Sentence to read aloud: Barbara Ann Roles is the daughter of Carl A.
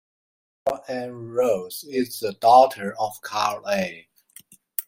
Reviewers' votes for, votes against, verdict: 1, 2, rejected